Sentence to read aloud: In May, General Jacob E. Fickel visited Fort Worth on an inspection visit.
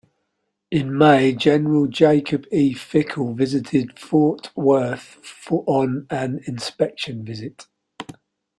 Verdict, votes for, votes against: rejected, 2, 3